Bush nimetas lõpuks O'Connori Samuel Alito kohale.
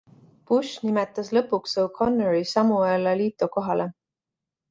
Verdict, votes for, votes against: accepted, 2, 0